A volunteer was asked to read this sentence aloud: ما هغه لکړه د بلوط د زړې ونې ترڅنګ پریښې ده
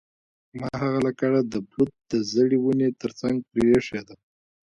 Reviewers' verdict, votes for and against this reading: rejected, 0, 2